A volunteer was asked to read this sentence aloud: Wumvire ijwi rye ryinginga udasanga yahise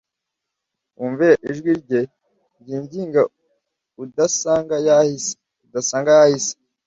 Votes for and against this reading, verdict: 0, 2, rejected